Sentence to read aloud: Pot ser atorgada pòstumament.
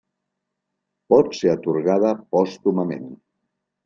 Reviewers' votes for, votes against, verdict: 2, 0, accepted